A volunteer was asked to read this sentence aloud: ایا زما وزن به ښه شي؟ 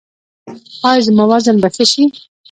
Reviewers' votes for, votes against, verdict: 1, 2, rejected